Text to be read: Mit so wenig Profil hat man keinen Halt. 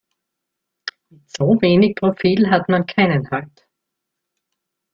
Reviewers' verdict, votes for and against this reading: rejected, 1, 2